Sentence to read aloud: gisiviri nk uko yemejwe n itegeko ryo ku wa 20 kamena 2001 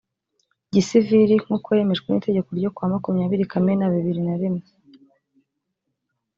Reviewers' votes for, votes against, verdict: 0, 2, rejected